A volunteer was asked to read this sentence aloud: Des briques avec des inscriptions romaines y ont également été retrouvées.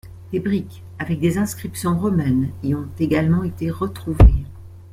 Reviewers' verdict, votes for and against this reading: accepted, 2, 0